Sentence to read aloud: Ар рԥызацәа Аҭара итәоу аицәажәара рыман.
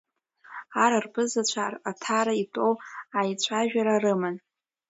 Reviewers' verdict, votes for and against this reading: accepted, 2, 1